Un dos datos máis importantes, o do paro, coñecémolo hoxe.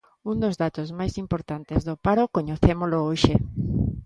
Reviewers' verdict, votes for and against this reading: rejected, 0, 2